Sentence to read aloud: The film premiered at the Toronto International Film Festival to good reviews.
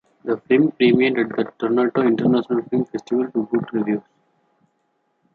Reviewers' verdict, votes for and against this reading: rejected, 0, 2